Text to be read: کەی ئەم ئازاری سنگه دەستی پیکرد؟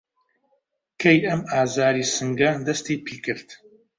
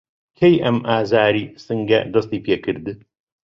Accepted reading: second